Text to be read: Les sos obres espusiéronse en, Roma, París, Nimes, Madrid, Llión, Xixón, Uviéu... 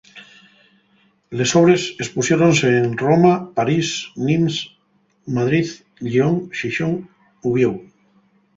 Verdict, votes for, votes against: rejected, 2, 2